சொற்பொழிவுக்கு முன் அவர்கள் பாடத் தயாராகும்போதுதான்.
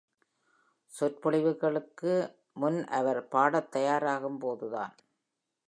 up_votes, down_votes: 0, 2